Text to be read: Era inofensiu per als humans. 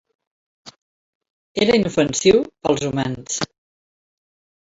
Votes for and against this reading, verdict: 1, 2, rejected